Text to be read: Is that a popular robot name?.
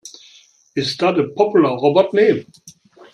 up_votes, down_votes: 1, 2